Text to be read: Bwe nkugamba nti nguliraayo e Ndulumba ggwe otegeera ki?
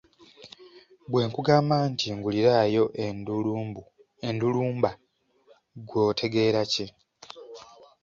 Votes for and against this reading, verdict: 0, 2, rejected